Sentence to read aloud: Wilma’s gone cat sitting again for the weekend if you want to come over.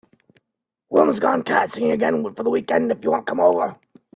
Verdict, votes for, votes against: rejected, 1, 2